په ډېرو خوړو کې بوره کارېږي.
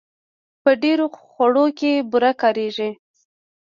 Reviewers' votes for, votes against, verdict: 2, 0, accepted